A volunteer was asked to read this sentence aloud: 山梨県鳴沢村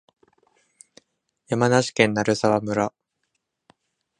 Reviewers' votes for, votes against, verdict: 2, 0, accepted